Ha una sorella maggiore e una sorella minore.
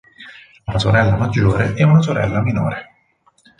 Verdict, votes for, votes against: rejected, 2, 4